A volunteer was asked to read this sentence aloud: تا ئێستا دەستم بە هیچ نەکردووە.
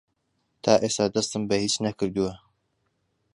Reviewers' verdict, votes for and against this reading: accepted, 2, 0